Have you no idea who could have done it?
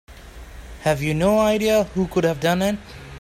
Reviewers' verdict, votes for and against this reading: accepted, 2, 0